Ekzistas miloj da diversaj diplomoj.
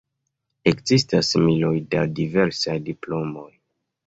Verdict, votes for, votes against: rejected, 1, 2